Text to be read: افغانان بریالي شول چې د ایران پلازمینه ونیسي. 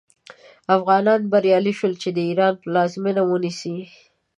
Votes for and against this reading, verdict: 10, 0, accepted